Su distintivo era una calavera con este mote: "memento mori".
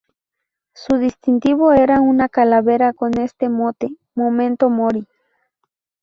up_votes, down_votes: 0, 2